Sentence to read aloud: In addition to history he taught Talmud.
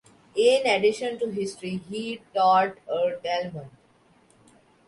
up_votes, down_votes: 1, 2